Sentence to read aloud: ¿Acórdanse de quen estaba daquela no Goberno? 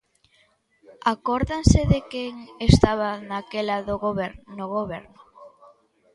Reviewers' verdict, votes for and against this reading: rejected, 0, 2